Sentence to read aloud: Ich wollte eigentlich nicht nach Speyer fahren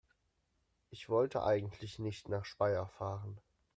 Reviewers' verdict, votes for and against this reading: accepted, 2, 0